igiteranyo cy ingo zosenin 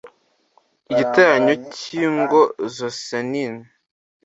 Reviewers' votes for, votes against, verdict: 2, 0, accepted